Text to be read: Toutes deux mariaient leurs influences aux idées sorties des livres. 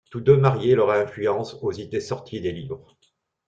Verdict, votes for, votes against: rejected, 0, 2